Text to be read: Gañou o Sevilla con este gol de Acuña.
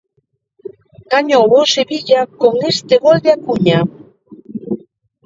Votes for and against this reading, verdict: 2, 0, accepted